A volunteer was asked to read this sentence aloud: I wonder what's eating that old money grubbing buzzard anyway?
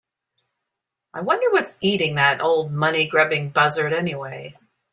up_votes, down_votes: 4, 0